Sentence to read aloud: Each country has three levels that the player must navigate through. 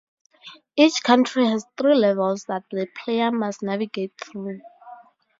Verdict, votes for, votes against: accepted, 4, 0